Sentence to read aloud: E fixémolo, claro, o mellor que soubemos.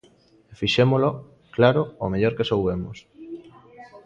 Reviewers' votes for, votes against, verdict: 1, 2, rejected